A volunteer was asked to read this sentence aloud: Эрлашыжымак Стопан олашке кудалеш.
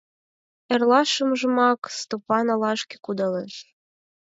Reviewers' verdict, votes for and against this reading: rejected, 2, 4